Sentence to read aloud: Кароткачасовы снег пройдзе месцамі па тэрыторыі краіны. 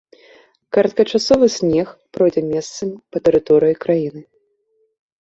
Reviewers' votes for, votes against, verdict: 3, 0, accepted